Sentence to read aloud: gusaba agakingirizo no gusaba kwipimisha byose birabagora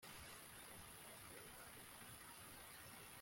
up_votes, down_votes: 0, 2